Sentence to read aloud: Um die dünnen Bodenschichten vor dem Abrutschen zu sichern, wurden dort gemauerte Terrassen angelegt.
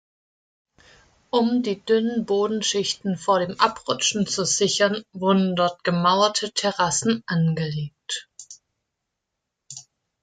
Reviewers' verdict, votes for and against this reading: accepted, 2, 0